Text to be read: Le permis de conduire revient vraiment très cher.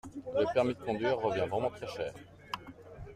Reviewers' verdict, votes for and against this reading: accepted, 2, 0